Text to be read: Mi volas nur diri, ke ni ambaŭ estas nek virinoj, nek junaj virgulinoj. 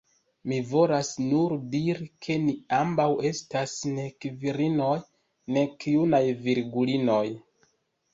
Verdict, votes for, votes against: accepted, 2, 0